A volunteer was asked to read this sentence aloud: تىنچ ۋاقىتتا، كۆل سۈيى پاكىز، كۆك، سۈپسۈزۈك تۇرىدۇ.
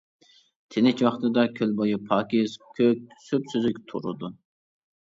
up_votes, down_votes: 0, 2